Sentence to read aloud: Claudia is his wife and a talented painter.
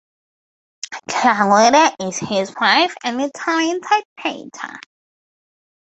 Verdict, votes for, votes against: accepted, 2, 0